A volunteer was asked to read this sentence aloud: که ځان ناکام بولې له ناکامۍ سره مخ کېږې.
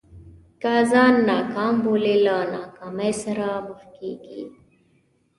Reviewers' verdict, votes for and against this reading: rejected, 1, 2